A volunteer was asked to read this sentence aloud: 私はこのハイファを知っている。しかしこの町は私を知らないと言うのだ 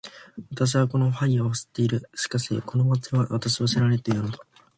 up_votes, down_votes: 2, 0